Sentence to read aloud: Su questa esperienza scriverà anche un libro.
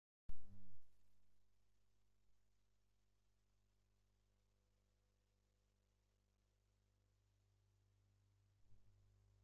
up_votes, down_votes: 0, 2